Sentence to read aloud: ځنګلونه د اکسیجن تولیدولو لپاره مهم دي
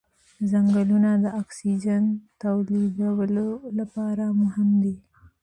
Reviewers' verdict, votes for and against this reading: accepted, 2, 1